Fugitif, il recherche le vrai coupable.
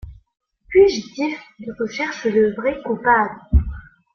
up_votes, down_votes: 2, 0